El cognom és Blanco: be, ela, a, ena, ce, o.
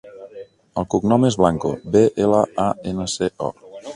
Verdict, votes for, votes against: rejected, 0, 2